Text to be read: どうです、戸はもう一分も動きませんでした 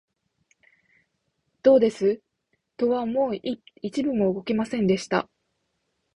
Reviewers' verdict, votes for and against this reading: rejected, 1, 2